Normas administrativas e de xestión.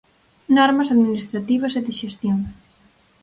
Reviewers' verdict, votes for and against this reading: accepted, 4, 0